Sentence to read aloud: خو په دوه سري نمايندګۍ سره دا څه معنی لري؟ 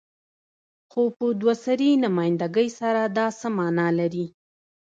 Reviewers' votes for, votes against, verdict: 0, 2, rejected